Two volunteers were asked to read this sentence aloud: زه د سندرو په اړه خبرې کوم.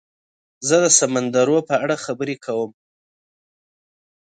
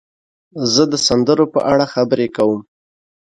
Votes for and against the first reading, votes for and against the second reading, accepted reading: 1, 2, 2, 0, second